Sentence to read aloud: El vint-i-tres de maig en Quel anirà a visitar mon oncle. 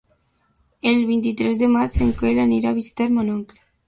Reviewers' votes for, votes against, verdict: 2, 0, accepted